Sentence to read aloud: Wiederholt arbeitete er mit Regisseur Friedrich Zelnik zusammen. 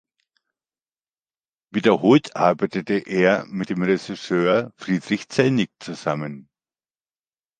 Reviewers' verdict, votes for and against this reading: rejected, 1, 2